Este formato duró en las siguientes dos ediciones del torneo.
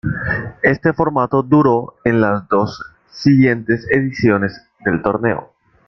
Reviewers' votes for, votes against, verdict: 0, 2, rejected